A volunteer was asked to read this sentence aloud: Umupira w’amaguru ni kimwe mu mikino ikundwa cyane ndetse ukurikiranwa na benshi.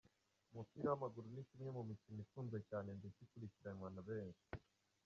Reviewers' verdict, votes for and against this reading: rejected, 0, 2